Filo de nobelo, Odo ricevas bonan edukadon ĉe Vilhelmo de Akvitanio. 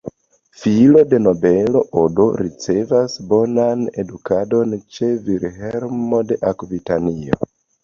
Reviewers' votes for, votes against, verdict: 2, 0, accepted